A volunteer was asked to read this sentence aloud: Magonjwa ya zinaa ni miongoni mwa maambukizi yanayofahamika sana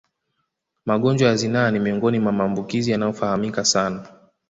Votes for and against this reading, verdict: 2, 0, accepted